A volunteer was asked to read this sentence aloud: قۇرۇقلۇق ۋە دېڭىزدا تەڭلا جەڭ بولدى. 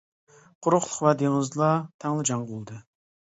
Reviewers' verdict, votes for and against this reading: rejected, 1, 2